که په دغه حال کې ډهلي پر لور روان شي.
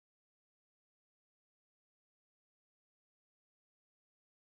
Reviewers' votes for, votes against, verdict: 1, 2, rejected